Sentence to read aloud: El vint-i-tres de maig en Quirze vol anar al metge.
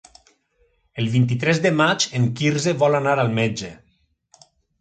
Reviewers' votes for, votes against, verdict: 3, 0, accepted